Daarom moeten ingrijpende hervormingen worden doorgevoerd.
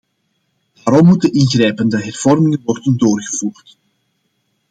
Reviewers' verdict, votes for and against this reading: accepted, 2, 0